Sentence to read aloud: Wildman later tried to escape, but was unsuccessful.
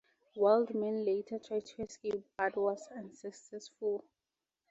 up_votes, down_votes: 4, 0